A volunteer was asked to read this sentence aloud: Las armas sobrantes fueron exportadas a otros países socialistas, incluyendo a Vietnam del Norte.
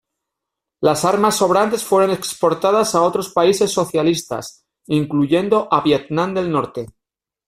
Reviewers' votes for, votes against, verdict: 0, 2, rejected